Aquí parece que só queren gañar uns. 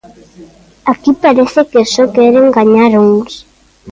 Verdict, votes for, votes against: accepted, 2, 0